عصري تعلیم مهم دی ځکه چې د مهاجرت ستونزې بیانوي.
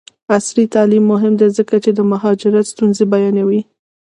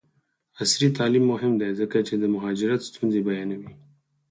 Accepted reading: second